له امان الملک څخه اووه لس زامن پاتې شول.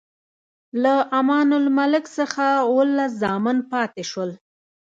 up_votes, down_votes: 0, 2